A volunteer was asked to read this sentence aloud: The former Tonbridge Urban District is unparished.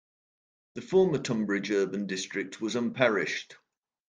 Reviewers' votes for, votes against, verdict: 0, 2, rejected